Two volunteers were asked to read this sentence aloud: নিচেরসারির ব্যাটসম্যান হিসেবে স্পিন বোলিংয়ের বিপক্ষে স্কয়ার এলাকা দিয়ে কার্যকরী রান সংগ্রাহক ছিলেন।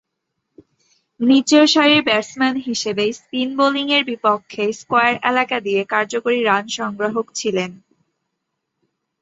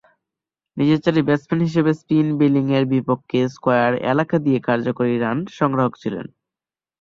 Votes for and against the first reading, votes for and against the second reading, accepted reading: 8, 0, 0, 2, first